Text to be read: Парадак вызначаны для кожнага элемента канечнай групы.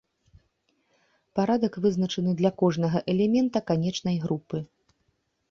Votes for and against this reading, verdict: 2, 0, accepted